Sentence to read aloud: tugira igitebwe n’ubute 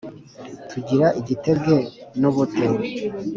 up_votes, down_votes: 4, 0